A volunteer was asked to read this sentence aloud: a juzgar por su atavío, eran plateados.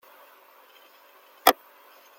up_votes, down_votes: 0, 2